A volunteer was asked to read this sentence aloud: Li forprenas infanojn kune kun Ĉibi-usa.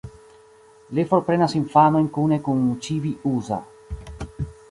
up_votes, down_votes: 2, 0